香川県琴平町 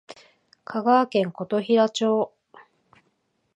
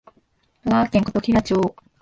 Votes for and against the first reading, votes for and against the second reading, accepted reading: 2, 0, 1, 3, first